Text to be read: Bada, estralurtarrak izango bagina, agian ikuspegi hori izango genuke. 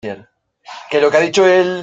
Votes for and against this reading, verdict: 0, 2, rejected